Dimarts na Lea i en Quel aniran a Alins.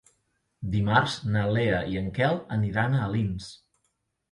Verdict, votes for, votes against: accepted, 4, 0